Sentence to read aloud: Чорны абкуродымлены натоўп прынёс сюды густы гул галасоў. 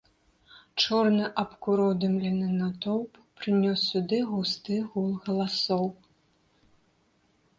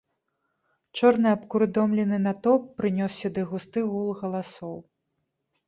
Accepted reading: first